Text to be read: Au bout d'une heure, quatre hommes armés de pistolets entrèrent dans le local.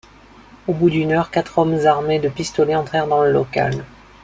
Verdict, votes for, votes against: rejected, 1, 2